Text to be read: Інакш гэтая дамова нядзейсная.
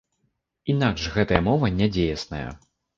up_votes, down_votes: 0, 2